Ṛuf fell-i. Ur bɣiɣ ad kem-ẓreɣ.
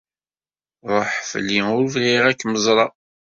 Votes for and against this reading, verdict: 1, 2, rejected